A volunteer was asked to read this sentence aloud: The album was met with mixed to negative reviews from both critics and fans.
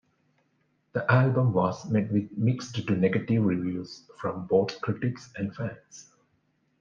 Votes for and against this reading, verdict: 2, 0, accepted